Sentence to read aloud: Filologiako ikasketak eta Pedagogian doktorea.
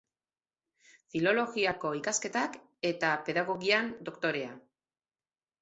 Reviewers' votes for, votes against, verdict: 4, 0, accepted